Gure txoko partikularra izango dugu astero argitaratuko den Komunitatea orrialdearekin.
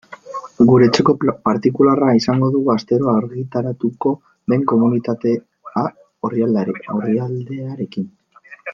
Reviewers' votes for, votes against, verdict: 0, 2, rejected